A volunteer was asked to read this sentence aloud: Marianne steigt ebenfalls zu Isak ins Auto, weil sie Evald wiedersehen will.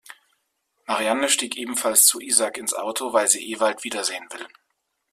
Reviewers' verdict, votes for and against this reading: rejected, 0, 2